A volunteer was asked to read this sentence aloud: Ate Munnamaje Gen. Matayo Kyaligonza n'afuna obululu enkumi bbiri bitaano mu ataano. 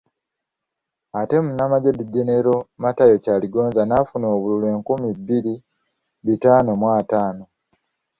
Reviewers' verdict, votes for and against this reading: accepted, 2, 0